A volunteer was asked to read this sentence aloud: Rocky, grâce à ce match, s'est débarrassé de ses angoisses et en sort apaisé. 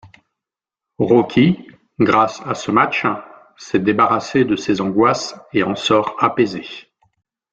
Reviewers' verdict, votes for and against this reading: rejected, 0, 2